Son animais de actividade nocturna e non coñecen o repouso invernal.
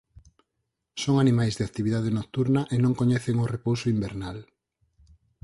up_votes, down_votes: 4, 0